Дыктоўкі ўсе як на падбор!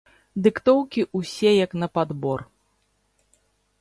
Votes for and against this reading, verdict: 0, 2, rejected